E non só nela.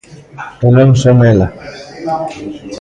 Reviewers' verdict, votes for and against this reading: rejected, 0, 2